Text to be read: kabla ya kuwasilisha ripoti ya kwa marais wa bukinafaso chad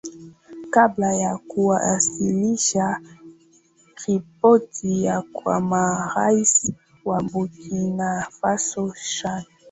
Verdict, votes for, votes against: rejected, 2, 2